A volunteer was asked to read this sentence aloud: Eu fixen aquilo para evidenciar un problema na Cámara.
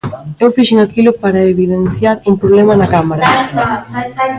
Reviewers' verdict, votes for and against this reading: rejected, 1, 2